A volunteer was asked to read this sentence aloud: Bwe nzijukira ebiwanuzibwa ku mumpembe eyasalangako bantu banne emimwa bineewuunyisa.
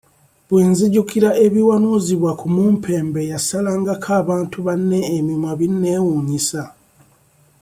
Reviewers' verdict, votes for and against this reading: accepted, 2, 0